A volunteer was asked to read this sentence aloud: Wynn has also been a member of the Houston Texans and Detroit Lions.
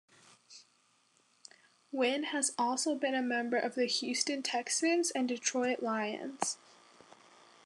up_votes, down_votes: 2, 1